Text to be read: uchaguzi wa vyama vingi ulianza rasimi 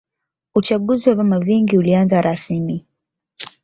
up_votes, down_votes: 2, 1